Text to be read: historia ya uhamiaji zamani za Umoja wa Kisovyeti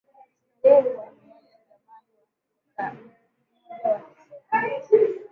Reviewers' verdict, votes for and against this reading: rejected, 0, 2